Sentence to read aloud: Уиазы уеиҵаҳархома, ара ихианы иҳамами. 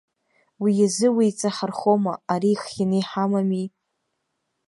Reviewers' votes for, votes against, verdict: 0, 2, rejected